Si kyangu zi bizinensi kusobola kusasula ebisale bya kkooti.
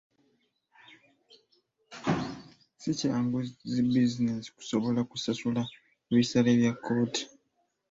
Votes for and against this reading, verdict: 0, 2, rejected